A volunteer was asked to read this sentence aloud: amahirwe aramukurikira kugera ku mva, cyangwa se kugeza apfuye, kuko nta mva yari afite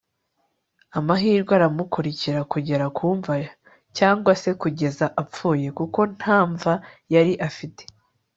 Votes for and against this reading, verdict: 3, 1, accepted